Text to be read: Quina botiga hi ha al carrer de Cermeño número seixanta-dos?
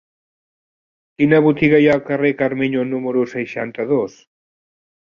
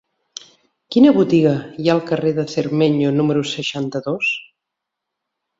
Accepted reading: second